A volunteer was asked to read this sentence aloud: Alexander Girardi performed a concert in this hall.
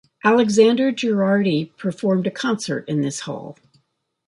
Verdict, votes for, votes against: accepted, 2, 0